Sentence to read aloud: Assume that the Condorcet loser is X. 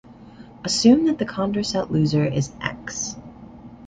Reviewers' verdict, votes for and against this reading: accepted, 2, 0